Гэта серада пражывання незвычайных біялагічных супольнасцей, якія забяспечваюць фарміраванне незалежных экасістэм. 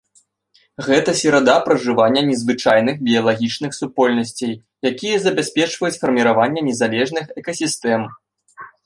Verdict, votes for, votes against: accepted, 2, 0